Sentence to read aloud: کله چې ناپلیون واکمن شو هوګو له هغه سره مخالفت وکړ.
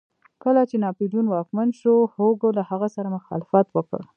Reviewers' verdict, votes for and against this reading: rejected, 1, 2